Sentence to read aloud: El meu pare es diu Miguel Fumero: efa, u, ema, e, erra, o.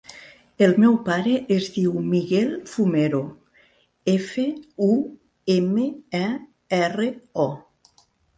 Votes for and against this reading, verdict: 2, 0, accepted